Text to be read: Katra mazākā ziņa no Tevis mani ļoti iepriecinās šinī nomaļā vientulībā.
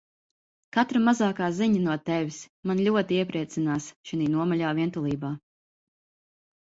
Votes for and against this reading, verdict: 2, 0, accepted